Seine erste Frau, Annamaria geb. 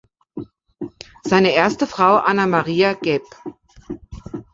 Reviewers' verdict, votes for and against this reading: accepted, 2, 0